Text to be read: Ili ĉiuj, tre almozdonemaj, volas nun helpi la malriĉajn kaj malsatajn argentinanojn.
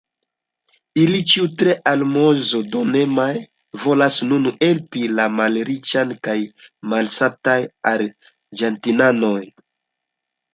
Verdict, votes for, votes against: accepted, 2, 0